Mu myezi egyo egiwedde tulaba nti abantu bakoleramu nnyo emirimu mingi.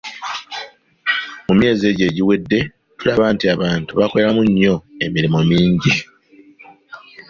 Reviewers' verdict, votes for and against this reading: accepted, 2, 0